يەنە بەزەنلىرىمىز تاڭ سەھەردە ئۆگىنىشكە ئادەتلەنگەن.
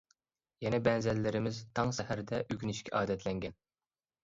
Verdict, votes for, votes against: accepted, 2, 0